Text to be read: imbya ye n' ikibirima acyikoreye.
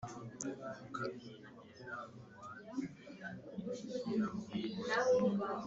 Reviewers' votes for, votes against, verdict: 2, 3, rejected